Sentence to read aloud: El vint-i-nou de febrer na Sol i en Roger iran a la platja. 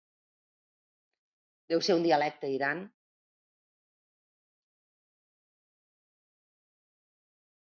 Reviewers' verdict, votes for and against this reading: rejected, 0, 2